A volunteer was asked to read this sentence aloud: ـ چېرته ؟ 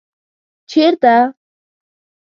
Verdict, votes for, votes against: accepted, 2, 1